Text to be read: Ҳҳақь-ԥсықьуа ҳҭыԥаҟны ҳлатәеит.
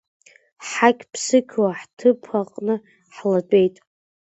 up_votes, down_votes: 2, 0